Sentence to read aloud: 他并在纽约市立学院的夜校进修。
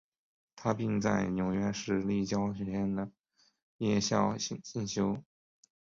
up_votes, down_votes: 1, 2